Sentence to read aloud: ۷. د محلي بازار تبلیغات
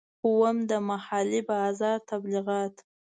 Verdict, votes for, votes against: rejected, 0, 2